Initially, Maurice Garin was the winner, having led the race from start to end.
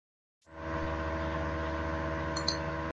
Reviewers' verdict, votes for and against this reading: rejected, 0, 2